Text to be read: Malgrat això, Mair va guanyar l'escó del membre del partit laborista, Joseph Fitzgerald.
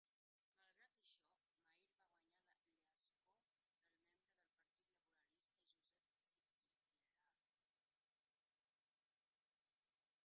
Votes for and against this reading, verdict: 1, 2, rejected